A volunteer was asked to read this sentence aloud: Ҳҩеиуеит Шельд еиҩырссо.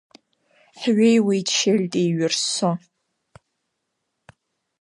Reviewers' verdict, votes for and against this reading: rejected, 1, 2